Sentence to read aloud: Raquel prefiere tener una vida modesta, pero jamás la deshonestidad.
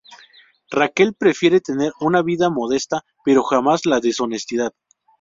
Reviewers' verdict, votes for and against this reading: accepted, 4, 0